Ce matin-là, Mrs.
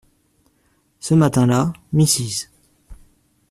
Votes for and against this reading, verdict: 2, 0, accepted